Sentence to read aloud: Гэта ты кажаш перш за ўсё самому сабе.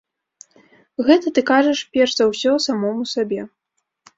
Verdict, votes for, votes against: accepted, 2, 0